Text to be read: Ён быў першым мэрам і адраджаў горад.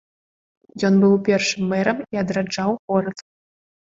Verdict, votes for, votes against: accepted, 2, 0